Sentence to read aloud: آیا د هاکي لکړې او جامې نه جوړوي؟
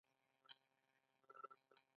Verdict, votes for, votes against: rejected, 0, 2